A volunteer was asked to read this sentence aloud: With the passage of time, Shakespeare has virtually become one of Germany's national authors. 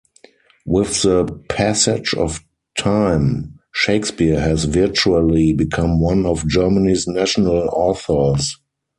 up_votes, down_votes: 0, 4